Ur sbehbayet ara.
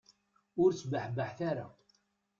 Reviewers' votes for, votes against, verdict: 1, 2, rejected